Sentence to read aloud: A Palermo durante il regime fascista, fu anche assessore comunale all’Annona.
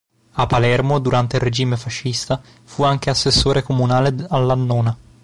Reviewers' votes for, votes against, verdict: 0, 2, rejected